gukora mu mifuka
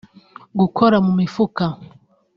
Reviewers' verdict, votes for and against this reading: accepted, 2, 0